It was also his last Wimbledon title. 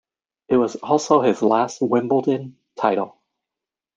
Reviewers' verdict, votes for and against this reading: accepted, 2, 0